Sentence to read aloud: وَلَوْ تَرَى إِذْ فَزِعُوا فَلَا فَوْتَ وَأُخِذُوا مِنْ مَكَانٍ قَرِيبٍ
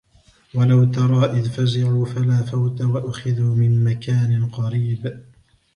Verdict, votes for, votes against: rejected, 1, 2